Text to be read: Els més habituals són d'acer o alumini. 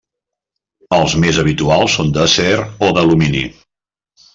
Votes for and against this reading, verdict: 1, 2, rejected